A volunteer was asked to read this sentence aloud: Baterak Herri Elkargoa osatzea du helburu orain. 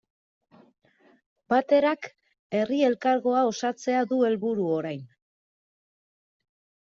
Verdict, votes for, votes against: accepted, 2, 1